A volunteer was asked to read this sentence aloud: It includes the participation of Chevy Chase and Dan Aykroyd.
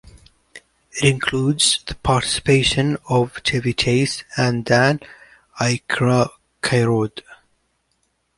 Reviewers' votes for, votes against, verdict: 0, 2, rejected